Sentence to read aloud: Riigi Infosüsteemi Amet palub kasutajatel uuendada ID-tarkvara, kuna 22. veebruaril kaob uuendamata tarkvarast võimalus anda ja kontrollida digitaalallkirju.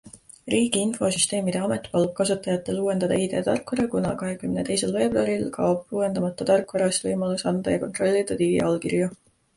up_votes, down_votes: 0, 2